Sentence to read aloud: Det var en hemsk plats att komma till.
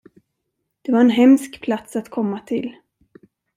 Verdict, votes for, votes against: accepted, 2, 0